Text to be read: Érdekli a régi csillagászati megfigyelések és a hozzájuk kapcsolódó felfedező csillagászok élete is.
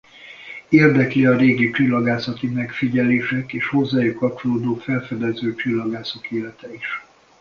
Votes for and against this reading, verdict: 0, 2, rejected